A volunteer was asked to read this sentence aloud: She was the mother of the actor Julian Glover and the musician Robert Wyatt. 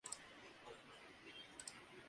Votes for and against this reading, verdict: 0, 2, rejected